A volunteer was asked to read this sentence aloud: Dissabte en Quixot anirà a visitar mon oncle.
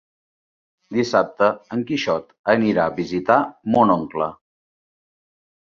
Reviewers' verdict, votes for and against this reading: accepted, 3, 0